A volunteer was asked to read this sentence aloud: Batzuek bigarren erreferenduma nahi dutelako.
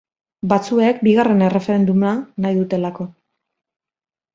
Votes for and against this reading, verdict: 2, 1, accepted